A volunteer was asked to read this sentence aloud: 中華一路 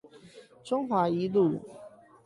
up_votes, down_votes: 8, 0